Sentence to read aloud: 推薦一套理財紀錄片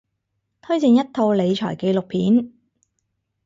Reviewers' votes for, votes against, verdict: 4, 0, accepted